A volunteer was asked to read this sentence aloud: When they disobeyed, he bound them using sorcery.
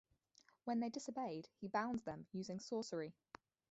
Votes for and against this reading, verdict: 2, 2, rejected